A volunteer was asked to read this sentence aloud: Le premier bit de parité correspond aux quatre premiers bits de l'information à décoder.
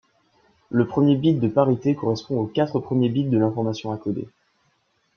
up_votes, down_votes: 0, 2